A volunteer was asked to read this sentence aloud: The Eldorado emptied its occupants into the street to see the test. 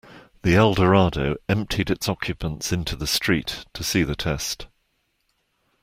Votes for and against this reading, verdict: 2, 0, accepted